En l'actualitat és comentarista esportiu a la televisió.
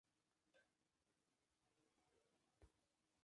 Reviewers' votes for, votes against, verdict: 0, 2, rejected